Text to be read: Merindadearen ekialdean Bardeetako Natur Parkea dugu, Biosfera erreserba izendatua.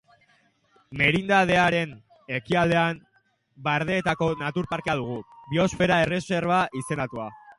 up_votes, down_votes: 4, 1